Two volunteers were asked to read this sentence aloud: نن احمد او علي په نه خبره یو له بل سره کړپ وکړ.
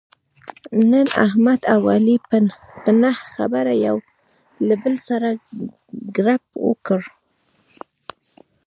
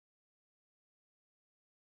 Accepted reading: second